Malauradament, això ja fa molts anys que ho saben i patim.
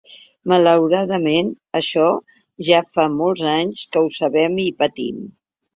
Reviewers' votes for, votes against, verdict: 1, 2, rejected